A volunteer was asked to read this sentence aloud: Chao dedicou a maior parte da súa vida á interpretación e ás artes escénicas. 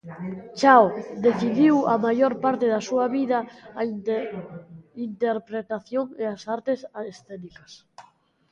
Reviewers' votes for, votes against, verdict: 0, 2, rejected